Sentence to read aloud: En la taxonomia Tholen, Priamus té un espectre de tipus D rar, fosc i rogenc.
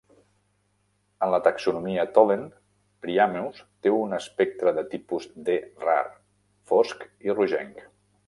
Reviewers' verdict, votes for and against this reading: rejected, 0, 2